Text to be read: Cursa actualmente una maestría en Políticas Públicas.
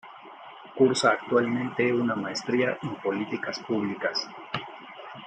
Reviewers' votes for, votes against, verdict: 1, 2, rejected